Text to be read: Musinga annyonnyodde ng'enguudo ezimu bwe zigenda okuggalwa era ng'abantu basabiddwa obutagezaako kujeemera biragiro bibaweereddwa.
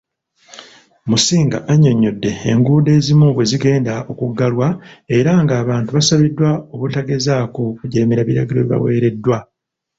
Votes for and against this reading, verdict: 0, 2, rejected